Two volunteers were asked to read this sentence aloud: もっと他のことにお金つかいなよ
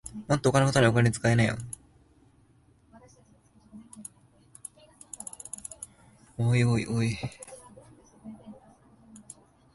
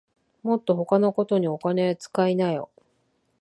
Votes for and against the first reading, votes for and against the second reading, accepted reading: 2, 3, 2, 0, second